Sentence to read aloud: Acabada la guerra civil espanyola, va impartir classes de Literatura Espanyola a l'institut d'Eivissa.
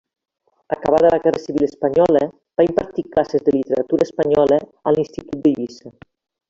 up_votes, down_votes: 2, 1